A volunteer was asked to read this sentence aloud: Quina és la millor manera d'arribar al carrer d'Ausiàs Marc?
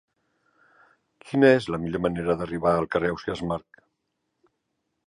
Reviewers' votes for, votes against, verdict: 1, 2, rejected